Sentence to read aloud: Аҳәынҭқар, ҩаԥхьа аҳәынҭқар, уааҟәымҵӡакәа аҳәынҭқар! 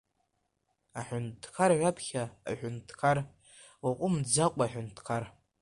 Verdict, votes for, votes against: accepted, 2, 1